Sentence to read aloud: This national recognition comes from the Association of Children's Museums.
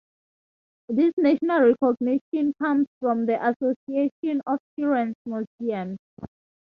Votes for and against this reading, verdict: 2, 0, accepted